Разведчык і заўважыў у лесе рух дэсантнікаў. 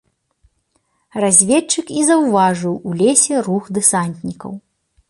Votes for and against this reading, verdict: 2, 0, accepted